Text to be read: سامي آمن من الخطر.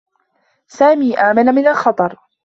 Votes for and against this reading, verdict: 2, 0, accepted